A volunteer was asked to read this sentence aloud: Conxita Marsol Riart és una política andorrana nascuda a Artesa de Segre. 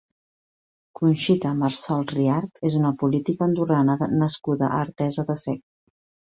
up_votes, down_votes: 1, 2